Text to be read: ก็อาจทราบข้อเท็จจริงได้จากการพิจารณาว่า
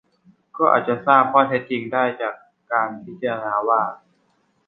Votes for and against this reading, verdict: 0, 2, rejected